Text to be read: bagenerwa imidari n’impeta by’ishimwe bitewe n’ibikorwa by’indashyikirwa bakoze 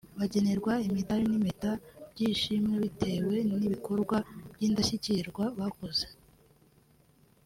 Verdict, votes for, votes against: accepted, 3, 1